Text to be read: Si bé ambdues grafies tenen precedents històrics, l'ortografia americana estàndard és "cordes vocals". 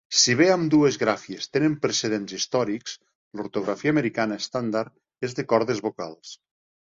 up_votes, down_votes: 0, 2